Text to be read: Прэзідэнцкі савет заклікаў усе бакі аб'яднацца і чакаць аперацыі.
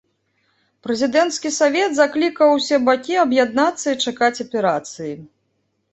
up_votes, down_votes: 2, 0